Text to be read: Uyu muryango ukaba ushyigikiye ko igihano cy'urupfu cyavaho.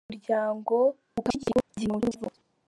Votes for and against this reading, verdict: 0, 2, rejected